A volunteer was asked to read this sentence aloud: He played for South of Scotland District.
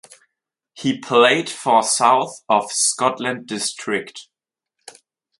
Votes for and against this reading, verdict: 4, 0, accepted